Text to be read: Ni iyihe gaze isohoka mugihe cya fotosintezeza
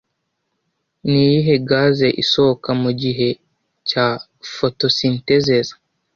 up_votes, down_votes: 2, 0